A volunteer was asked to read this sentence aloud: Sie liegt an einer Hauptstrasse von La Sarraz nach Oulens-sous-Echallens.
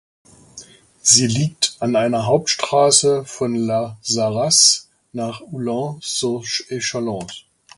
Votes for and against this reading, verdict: 0, 2, rejected